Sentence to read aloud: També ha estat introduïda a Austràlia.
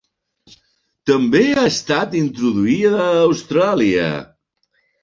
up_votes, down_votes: 3, 1